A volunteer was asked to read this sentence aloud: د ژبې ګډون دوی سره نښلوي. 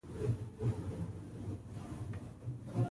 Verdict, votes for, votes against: rejected, 1, 2